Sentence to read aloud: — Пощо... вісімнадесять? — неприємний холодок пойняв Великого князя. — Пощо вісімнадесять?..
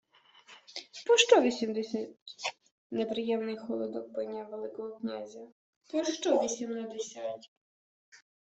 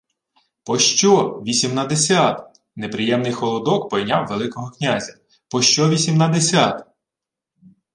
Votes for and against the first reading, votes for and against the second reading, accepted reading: 1, 2, 2, 0, second